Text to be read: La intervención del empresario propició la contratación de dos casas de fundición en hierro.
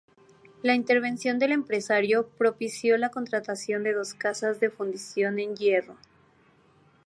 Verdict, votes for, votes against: accepted, 2, 0